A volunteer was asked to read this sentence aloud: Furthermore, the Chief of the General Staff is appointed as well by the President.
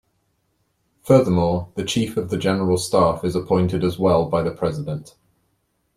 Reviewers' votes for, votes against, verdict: 2, 0, accepted